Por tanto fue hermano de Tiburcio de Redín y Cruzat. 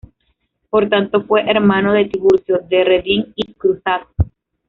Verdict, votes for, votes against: accepted, 2, 0